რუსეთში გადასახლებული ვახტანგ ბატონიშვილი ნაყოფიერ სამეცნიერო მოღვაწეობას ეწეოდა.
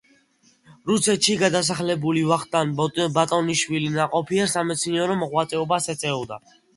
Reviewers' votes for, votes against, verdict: 2, 0, accepted